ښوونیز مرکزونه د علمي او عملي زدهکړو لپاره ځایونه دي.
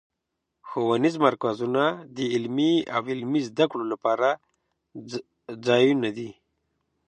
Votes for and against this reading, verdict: 0, 2, rejected